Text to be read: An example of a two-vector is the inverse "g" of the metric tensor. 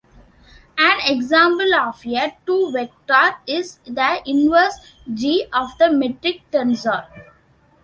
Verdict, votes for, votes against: accepted, 2, 1